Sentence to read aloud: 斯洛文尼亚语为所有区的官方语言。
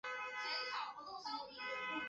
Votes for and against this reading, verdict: 4, 5, rejected